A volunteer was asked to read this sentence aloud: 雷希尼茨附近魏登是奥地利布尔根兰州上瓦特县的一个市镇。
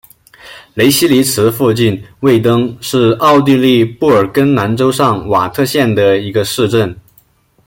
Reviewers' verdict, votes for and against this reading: accepted, 2, 0